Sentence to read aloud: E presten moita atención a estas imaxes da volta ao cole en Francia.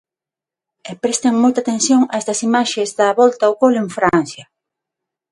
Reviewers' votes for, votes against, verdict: 6, 0, accepted